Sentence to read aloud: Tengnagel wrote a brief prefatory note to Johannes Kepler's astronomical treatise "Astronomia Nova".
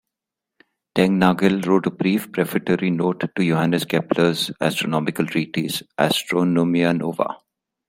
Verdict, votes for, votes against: rejected, 1, 2